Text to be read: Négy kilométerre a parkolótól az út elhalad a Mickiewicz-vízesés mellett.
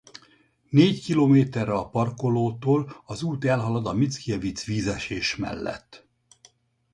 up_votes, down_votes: 2, 0